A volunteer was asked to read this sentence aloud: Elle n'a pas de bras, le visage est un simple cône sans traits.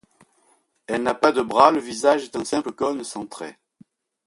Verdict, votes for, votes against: accepted, 2, 0